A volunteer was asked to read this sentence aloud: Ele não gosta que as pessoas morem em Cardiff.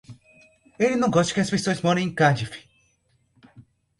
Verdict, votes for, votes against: rejected, 0, 2